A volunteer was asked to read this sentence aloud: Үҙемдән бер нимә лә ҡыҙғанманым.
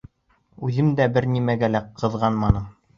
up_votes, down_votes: 2, 3